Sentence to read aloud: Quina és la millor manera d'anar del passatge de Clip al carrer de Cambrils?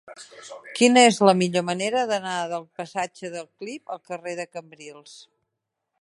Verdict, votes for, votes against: rejected, 0, 2